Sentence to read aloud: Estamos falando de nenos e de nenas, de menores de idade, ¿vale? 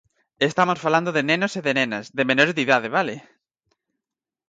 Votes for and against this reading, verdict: 4, 0, accepted